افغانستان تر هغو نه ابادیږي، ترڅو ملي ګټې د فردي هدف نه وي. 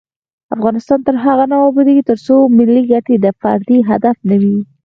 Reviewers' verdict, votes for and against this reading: accepted, 4, 0